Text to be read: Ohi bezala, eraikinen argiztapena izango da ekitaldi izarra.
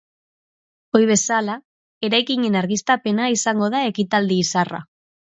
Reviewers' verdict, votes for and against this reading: accepted, 2, 0